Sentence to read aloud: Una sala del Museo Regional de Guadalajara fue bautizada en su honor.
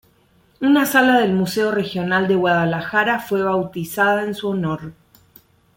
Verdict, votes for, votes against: rejected, 0, 2